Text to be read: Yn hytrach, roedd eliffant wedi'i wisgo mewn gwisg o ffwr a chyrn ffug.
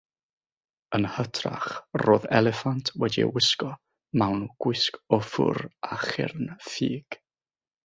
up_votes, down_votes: 3, 3